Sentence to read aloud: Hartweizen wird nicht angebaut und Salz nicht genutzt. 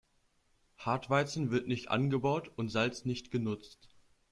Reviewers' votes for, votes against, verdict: 2, 0, accepted